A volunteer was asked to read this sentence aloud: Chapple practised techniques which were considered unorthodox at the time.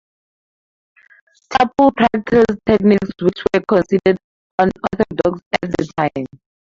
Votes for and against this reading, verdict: 0, 2, rejected